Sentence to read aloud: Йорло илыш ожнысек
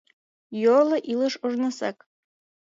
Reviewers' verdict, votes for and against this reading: accepted, 2, 1